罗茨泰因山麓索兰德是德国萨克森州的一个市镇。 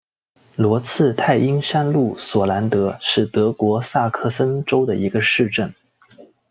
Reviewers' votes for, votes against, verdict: 2, 0, accepted